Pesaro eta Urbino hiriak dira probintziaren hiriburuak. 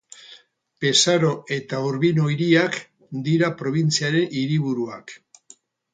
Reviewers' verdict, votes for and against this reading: rejected, 2, 2